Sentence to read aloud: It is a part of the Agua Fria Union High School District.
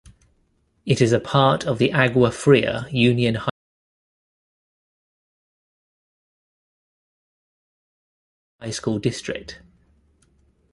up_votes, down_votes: 0, 2